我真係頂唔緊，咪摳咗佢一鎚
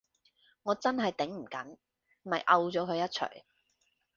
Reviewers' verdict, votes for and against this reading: accepted, 3, 0